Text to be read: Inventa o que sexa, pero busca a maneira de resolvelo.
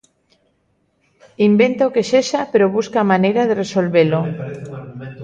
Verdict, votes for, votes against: rejected, 0, 2